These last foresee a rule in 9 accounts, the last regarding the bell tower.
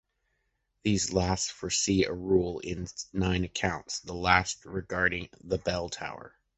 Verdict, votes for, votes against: rejected, 0, 2